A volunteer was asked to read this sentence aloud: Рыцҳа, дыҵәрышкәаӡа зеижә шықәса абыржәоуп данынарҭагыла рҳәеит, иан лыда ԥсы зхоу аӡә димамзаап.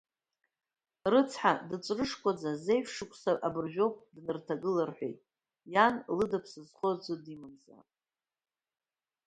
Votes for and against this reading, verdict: 1, 2, rejected